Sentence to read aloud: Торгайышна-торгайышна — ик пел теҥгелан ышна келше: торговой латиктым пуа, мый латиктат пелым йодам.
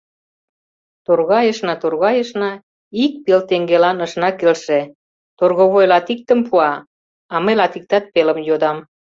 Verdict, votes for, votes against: rejected, 1, 2